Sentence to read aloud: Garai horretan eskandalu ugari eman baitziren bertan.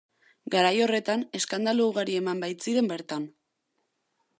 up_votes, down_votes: 2, 0